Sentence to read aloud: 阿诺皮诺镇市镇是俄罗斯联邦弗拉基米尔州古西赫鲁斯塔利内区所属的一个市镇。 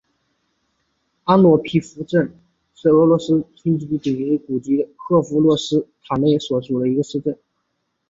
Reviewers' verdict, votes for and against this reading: accepted, 2, 0